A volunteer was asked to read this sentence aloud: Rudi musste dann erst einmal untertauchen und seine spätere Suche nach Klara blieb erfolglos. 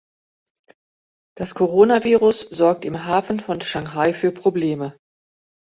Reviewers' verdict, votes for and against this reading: rejected, 0, 2